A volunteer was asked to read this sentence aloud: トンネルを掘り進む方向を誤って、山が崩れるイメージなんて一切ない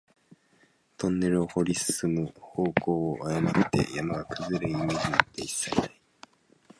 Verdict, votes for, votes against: rejected, 0, 2